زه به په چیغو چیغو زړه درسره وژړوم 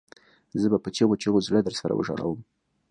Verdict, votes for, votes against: accepted, 2, 0